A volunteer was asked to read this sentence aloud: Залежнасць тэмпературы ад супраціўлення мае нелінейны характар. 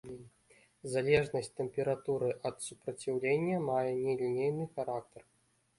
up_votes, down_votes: 3, 0